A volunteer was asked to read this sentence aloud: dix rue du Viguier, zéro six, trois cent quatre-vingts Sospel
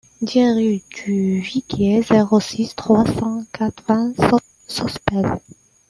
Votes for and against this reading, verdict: 0, 2, rejected